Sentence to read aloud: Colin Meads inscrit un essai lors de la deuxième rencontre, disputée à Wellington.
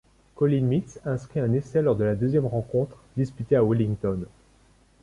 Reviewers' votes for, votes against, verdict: 2, 0, accepted